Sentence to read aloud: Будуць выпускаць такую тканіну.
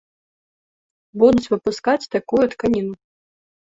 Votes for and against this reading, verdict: 2, 0, accepted